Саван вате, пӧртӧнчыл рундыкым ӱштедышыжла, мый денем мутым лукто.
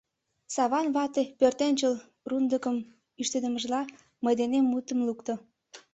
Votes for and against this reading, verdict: 2, 3, rejected